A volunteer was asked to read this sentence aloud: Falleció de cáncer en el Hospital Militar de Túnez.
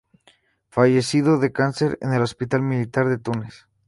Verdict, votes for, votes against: rejected, 0, 2